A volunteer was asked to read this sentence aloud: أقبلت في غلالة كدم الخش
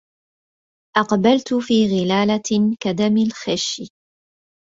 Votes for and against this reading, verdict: 2, 1, accepted